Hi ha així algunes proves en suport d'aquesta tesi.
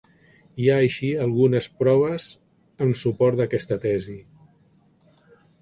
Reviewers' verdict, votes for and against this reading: accepted, 4, 0